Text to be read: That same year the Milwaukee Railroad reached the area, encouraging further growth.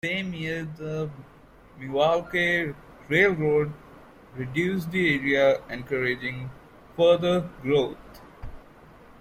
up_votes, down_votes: 0, 2